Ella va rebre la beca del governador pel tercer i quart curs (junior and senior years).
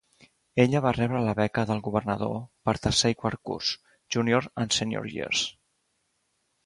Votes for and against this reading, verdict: 1, 2, rejected